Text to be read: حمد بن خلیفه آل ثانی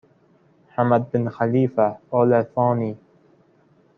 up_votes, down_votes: 0, 2